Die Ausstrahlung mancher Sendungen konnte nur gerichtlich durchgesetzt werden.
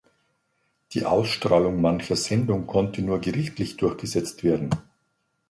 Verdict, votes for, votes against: accepted, 2, 0